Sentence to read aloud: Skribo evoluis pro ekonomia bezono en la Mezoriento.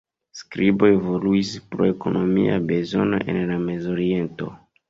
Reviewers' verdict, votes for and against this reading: rejected, 1, 2